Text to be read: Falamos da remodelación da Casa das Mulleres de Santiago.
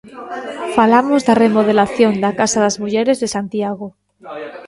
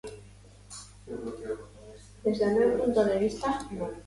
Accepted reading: first